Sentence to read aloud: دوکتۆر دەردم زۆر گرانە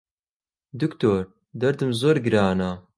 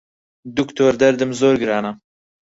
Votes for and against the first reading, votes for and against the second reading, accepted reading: 6, 0, 0, 4, first